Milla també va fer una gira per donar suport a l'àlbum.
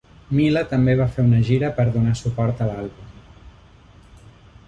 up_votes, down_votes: 1, 2